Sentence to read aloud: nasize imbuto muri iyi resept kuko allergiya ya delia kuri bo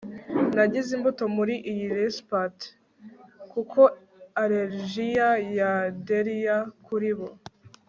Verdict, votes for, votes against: rejected, 1, 2